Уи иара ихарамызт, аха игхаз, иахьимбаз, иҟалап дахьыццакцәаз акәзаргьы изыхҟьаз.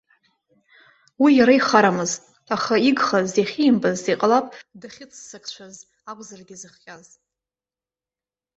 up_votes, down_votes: 1, 2